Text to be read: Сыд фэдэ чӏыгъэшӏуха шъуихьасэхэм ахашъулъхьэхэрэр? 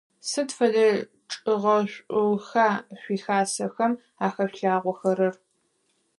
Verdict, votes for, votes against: rejected, 0, 4